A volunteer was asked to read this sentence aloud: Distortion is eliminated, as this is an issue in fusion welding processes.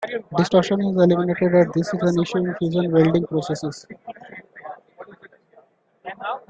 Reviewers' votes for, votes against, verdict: 1, 2, rejected